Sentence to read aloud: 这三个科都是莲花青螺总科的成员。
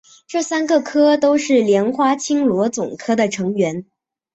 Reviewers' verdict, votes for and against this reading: accepted, 2, 0